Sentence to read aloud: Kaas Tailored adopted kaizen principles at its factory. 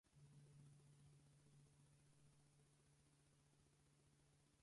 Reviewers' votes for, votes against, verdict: 0, 4, rejected